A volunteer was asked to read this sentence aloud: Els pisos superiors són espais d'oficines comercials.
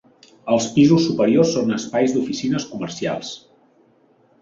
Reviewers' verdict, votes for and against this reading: accepted, 3, 0